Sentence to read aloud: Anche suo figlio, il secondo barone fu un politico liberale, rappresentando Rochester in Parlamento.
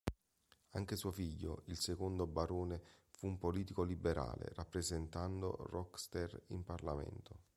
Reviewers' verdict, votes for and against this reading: rejected, 1, 3